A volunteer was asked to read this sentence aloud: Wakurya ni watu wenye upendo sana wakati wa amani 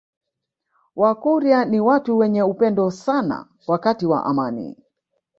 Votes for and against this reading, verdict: 2, 0, accepted